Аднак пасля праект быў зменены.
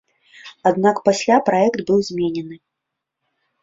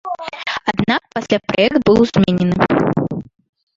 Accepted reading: first